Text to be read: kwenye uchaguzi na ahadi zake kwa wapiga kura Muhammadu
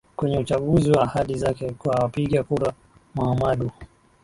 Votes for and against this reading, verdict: 8, 2, accepted